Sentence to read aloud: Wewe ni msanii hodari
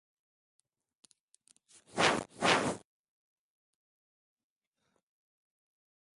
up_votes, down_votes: 0, 2